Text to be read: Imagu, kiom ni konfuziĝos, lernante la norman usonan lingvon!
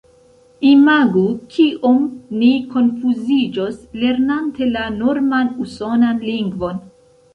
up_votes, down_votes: 2, 0